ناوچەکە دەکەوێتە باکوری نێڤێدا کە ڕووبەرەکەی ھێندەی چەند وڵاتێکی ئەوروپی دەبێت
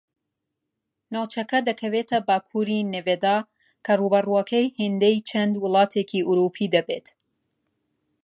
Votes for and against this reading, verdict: 0, 2, rejected